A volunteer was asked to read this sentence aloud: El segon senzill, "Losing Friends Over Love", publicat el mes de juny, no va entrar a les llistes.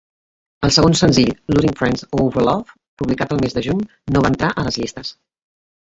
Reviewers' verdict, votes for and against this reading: rejected, 1, 2